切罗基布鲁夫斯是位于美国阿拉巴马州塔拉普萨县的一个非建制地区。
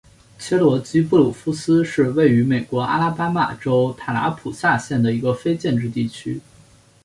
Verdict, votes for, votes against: accepted, 2, 0